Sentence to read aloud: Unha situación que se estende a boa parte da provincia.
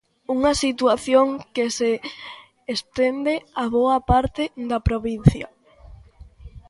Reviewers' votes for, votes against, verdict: 2, 1, accepted